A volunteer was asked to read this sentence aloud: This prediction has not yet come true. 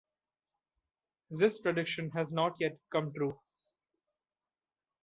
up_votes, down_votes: 2, 0